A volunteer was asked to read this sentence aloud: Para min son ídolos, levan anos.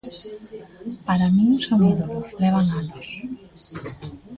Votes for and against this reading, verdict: 0, 2, rejected